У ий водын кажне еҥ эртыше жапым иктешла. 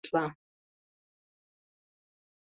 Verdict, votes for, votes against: rejected, 0, 2